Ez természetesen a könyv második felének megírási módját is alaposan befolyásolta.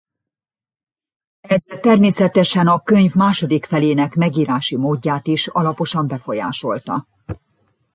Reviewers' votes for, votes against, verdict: 0, 2, rejected